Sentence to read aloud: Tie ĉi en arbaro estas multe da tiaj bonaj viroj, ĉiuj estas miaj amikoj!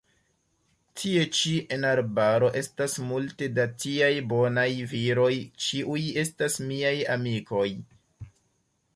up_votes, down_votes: 2, 0